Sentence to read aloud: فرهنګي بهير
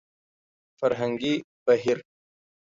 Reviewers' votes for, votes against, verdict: 2, 0, accepted